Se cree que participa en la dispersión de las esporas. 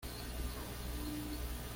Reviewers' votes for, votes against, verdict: 1, 2, rejected